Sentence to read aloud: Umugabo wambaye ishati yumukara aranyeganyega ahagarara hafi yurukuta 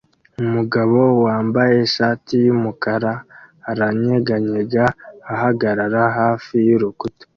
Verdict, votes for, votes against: accepted, 3, 0